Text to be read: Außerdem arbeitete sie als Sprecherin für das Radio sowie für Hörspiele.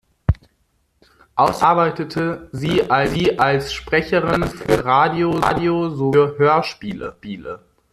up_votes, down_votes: 0, 2